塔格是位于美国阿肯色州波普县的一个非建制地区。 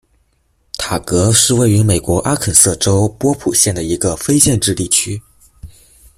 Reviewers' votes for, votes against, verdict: 2, 0, accepted